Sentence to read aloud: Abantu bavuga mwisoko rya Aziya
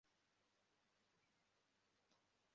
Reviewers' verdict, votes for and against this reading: rejected, 0, 2